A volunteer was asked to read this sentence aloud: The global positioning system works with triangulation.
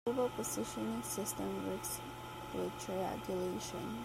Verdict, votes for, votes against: rejected, 0, 2